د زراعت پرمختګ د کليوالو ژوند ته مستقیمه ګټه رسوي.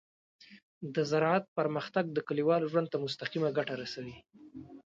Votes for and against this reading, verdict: 2, 0, accepted